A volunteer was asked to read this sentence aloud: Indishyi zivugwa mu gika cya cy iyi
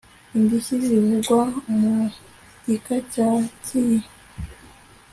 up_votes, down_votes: 3, 0